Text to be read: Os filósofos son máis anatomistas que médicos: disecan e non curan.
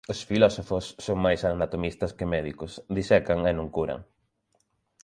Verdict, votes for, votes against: accepted, 3, 0